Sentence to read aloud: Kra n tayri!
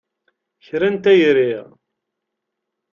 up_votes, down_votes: 2, 0